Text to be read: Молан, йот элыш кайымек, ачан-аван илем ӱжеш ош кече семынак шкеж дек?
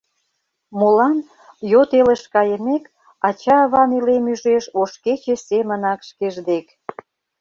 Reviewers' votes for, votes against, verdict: 0, 2, rejected